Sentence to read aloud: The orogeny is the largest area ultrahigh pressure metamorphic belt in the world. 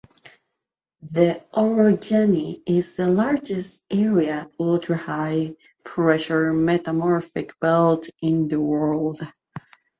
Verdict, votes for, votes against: accepted, 2, 0